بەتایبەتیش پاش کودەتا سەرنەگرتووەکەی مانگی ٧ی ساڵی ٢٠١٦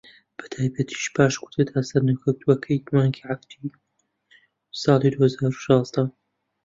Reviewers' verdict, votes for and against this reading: rejected, 0, 2